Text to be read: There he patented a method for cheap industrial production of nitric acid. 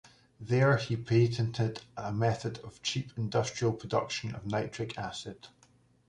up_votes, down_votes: 0, 2